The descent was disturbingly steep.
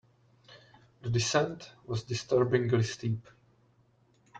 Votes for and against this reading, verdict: 3, 1, accepted